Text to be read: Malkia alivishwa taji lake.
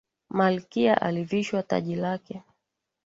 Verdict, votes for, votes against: accepted, 3, 0